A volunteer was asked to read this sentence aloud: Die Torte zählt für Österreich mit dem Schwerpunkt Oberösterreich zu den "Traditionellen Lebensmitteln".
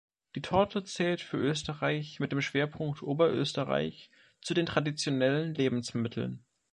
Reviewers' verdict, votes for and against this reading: accepted, 2, 0